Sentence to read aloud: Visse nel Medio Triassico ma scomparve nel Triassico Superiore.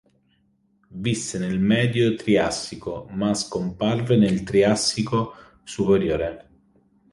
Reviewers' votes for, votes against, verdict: 2, 0, accepted